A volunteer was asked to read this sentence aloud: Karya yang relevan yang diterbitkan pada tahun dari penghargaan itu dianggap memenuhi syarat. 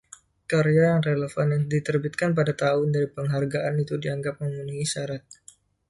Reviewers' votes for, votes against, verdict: 0, 2, rejected